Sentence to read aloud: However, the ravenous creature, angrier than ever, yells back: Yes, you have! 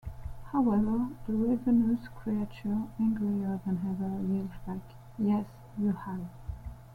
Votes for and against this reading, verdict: 2, 1, accepted